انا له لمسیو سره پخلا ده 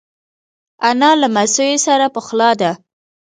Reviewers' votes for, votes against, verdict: 1, 2, rejected